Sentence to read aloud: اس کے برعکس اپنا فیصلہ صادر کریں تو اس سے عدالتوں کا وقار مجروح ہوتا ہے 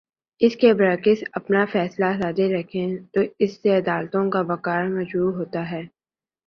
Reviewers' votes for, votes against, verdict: 0, 2, rejected